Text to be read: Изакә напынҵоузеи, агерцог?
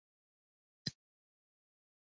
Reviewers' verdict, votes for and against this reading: rejected, 0, 2